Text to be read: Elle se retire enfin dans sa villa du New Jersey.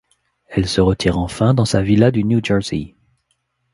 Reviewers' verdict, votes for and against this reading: accepted, 2, 0